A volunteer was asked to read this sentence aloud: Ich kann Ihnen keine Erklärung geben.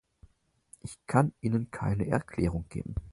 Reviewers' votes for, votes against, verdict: 4, 0, accepted